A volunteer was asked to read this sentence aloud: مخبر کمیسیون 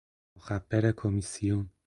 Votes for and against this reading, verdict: 2, 4, rejected